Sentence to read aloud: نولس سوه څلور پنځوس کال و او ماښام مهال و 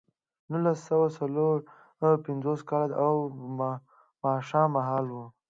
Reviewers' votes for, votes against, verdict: 2, 0, accepted